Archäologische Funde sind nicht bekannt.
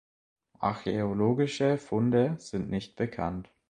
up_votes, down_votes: 2, 0